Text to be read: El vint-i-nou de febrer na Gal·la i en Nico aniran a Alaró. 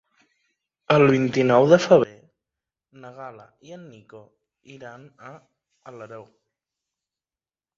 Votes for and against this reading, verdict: 1, 2, rejected